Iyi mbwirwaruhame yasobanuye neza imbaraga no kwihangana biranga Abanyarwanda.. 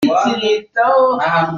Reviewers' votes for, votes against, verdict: 0, 2, rejected